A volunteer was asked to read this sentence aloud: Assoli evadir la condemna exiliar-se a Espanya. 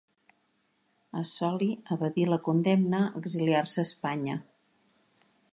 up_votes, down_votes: 2, 0